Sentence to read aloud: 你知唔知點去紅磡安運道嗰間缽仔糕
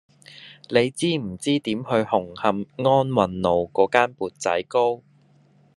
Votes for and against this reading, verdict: 1, 2, rejected